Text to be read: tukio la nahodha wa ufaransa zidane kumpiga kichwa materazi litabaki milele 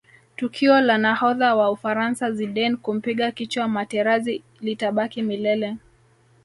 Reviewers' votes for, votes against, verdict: 1, 2, rejected